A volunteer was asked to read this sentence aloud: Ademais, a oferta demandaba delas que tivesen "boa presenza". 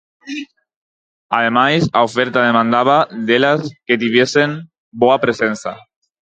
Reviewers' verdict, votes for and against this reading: rejected, 2, 4